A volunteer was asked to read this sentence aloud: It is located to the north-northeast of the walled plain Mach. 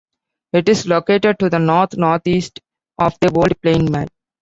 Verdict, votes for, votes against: rejected, 0, 2